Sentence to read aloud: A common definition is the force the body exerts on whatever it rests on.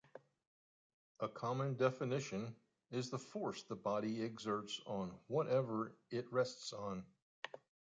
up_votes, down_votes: 2, 1